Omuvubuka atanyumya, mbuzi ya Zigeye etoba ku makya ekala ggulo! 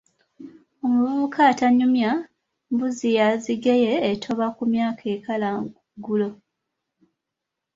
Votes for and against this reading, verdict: 1, 2, rejected